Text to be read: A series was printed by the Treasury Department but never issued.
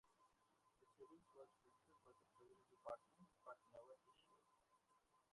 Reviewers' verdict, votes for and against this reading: rejected, 0, 2